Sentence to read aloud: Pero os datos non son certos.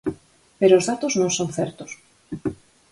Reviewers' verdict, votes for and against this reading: accepted, 4, 0